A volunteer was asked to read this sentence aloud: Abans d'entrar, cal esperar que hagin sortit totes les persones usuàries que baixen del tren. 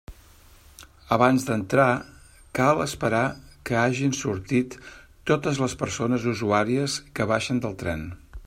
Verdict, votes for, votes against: rejected, 1, 2